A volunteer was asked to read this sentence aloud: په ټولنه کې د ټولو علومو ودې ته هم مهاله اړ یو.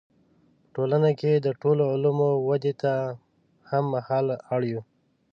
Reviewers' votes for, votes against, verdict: 2, 0, accepted